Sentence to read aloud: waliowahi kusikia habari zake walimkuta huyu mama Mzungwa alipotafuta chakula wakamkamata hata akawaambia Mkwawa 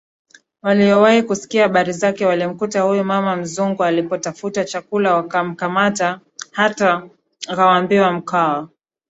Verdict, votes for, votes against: rejected, 0, 2